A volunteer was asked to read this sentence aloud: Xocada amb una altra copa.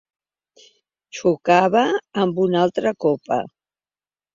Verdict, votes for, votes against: accepted, 2, 0